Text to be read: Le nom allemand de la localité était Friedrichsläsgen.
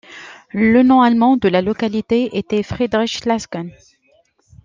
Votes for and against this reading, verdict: 2, 0, accepted